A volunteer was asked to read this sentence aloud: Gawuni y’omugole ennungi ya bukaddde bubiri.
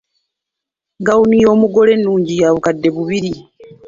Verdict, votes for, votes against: accepted, 2, 0